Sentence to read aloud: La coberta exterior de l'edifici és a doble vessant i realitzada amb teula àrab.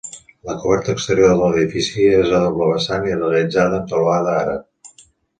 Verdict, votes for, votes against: rejected, 1, 2